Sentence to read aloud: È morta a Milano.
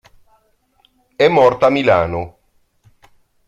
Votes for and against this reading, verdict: 1, 2, rejected